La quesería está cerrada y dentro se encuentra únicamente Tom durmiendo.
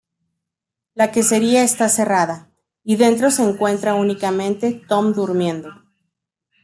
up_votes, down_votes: 2, 0